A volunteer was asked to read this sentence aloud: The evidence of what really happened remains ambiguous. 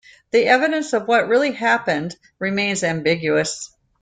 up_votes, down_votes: 2, 0